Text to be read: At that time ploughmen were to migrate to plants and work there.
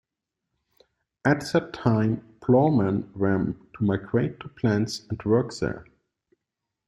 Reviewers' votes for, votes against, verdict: 2, 0, accepted